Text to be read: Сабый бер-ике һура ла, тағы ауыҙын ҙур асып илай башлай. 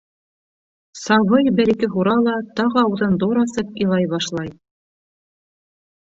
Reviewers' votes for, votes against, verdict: 1, 2, rejected